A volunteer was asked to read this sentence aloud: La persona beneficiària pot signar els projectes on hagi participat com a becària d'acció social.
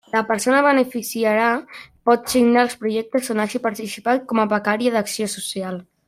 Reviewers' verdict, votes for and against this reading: rejected, 0, 2